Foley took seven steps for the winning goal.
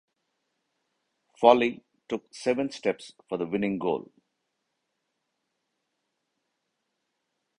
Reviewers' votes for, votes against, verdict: 2, 0, accepted